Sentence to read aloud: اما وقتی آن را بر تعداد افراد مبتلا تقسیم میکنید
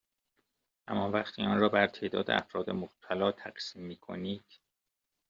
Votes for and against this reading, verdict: 2, 0, accepted